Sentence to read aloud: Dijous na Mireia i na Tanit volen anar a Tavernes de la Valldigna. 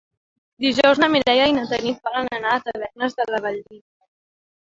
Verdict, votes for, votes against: rejected, 1, 2